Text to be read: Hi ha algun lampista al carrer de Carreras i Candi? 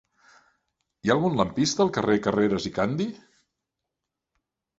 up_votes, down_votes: 0, 2